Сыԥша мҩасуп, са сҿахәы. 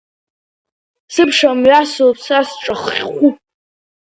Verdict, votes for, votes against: rejected, 0, 4